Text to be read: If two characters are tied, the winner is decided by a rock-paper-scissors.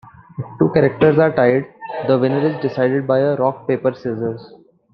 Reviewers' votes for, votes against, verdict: 2, 0, accepted